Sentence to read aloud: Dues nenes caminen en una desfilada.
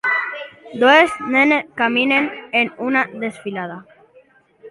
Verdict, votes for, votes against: accepted, 3, 0